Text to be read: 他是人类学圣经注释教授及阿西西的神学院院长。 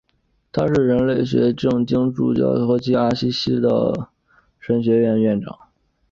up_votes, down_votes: 5, 0